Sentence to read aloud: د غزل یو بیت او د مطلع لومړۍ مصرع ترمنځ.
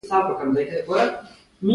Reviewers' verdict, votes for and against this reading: rejected, 0, 2